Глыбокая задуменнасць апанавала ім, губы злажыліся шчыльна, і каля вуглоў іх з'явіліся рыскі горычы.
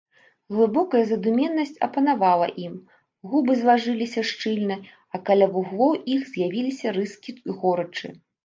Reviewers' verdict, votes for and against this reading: rejected, 1, 2